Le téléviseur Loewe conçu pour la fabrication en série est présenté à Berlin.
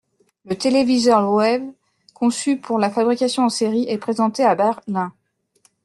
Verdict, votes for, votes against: rejected, 1, 2